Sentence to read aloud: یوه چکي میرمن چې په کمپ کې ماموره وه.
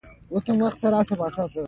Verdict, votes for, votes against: rejected, 1, 2